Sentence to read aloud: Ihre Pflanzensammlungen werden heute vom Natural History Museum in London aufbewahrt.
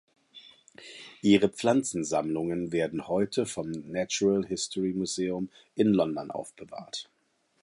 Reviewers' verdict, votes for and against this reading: accepted, 2, 0